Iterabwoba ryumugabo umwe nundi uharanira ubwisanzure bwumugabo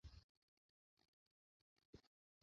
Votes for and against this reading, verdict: 1, 2, rejected